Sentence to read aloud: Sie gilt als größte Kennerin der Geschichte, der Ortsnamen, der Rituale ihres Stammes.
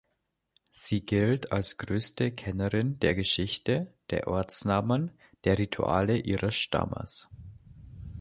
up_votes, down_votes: 2, 0